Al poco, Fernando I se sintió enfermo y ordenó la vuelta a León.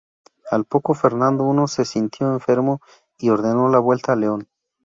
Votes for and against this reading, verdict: 0, 2, rejected